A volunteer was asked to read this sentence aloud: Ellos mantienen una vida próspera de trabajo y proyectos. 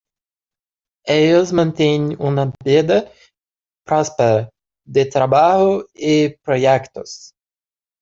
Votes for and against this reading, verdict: 0, 2, rejected